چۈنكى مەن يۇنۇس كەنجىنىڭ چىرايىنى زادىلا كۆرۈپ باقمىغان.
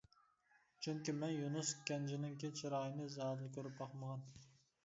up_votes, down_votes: 0, 2